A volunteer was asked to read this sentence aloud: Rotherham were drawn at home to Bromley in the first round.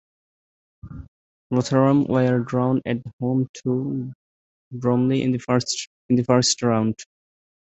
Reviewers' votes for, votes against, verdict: 1, 2, rejected